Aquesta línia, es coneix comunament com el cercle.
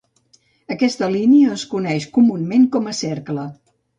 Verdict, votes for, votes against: rejected, 1, 2